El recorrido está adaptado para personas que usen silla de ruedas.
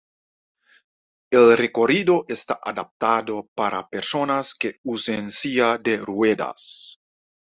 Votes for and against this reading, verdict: 2, 1, accepted